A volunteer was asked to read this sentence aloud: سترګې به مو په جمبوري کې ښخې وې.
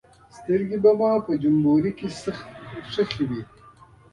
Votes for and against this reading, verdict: 1, 2, rejected